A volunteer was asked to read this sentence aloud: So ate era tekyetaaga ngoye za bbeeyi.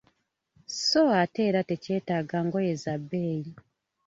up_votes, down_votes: 2, 0